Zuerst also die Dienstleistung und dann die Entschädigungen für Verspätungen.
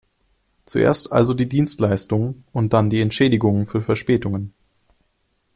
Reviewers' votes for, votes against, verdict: 2, 0, accepted